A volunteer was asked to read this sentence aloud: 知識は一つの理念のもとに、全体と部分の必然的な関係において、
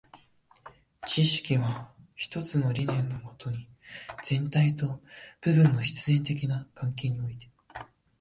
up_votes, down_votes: 0, 2